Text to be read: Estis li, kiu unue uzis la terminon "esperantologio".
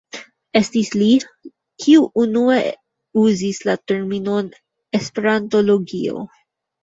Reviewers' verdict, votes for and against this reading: accepted, 3, 2